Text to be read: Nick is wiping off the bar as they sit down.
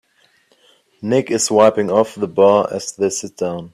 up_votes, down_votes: 3, 0